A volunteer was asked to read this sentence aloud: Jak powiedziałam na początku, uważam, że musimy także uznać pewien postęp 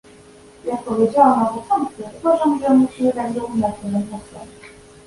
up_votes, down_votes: 1, 2